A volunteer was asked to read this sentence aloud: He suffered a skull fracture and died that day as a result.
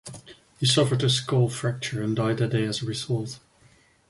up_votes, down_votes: 2, 0